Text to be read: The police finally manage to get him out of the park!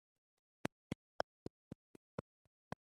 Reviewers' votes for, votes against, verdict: 0, 2, rejected